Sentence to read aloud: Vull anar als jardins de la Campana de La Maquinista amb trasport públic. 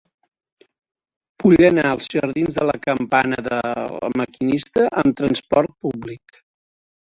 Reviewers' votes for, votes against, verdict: 0, 2, rejected